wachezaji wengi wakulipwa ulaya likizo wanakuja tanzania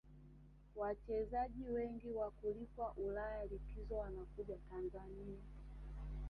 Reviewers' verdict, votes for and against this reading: rejected, 0, 2